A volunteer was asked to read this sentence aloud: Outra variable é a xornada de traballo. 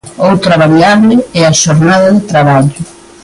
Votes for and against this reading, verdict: 2, 1, accepted